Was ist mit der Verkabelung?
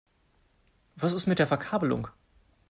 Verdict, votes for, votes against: accepted, 2, 0